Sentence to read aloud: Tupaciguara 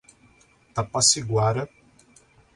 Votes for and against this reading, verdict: 1, 2, rejected